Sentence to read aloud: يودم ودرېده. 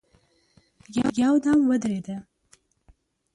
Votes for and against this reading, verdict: 5, 0, accepted